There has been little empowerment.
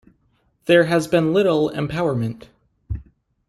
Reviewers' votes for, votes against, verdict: 2, 0, accepted